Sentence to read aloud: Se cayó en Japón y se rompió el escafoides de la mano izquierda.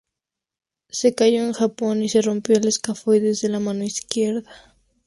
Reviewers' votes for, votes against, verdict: 2, 0, accepted